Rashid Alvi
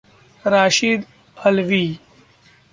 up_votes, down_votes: 2, 0